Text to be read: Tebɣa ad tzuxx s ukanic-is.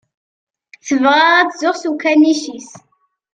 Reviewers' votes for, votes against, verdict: 2, 0, accepted